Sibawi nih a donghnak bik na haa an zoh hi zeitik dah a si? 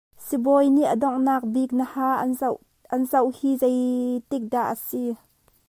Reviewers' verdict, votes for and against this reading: accepted, 2, 1